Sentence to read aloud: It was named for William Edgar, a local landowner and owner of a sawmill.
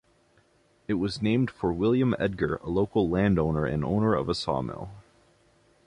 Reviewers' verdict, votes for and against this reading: accepted, 2, 0